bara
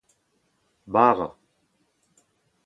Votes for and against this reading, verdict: 4, 0, accepted